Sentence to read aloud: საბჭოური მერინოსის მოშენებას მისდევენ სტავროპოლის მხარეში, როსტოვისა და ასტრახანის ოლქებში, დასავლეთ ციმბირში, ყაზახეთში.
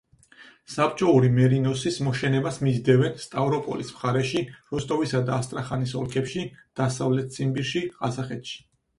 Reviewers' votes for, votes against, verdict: 4, 0, accepted